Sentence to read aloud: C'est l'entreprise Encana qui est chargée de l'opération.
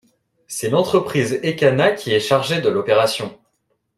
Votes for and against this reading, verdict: 0, 2, rejected